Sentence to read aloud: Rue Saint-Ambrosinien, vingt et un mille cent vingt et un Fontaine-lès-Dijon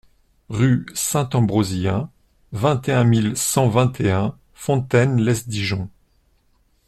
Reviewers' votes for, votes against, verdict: 1, 2, rejected